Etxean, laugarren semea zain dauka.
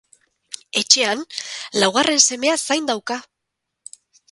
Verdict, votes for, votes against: accepted, 4, 0